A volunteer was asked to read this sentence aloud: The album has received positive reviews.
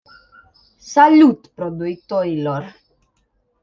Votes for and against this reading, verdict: 0, 2, rejected